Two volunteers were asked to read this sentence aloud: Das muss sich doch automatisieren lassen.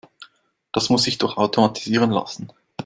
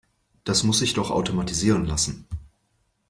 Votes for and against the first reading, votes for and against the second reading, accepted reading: 1, 2, 3, 0, second